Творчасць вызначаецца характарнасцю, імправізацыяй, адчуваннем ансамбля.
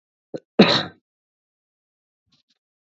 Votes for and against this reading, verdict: 0, 2, rejected